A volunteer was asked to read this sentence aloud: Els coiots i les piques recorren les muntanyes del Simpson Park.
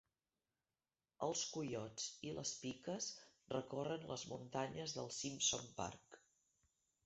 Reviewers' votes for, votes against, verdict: 0, 2, rejected